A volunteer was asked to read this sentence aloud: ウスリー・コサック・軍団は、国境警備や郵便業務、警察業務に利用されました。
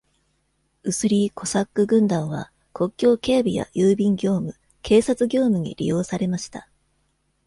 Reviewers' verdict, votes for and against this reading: accepted, 2, 0